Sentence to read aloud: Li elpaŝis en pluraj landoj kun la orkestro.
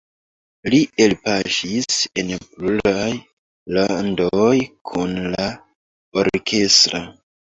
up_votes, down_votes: 2, 1